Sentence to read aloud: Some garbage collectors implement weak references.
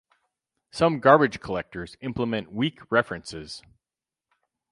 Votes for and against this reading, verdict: 4, 0, accepted